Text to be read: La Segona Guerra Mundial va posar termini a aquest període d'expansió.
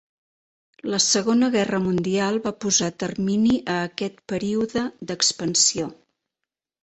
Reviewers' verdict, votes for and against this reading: accepted, 3, 0